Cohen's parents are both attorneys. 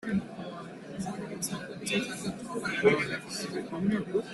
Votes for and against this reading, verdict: 0, 2, rejected